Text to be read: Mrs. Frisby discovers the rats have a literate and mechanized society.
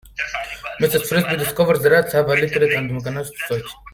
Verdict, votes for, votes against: rejected, 0, 2